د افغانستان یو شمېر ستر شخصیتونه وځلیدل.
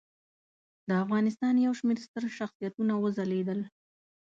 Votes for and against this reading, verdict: 2, 0, accepted